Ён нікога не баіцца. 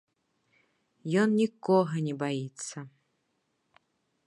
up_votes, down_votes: 3, 0